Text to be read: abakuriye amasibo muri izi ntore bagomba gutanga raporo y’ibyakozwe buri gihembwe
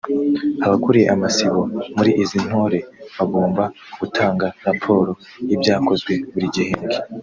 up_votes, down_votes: 1, 2